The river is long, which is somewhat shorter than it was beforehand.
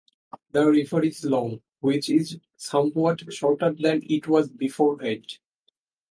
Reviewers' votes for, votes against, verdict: 4, 0, accepted